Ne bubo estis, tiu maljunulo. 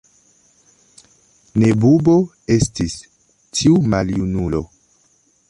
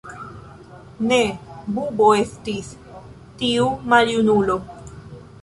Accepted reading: second